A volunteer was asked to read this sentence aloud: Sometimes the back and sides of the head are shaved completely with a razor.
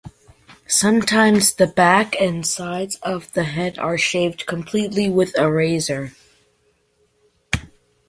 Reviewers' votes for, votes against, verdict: 2, 0, accepted